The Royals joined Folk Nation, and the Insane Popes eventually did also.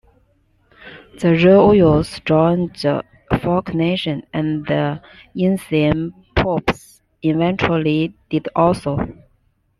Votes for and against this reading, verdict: 0, 2, rejected